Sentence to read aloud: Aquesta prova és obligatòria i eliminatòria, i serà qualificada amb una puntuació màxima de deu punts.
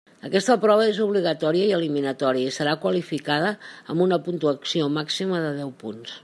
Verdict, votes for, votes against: accepted, 3, 0